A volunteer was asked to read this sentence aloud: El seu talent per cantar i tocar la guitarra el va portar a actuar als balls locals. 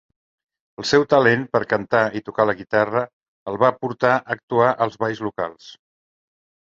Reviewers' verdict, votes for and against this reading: accepted, 2, 0